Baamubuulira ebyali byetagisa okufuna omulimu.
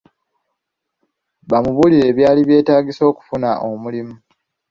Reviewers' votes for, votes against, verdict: 0, 2, rejected